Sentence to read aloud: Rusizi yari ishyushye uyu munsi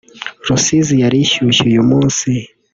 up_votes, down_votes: 2, 1